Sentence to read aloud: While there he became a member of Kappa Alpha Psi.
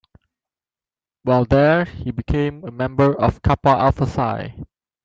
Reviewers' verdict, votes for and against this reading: accepted, 2, 0